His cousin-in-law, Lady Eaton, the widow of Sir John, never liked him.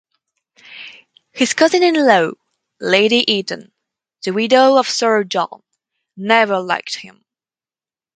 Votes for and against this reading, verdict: 2, 2, rejected